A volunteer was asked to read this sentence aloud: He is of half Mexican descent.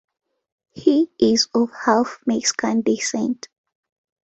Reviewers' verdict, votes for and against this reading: accepted, 2, 0